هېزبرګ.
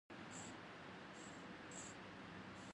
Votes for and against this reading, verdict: 2, 4, rejected